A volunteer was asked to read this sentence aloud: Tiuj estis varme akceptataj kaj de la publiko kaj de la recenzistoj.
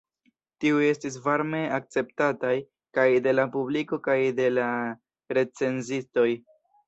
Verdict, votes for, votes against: accepted, 2, 0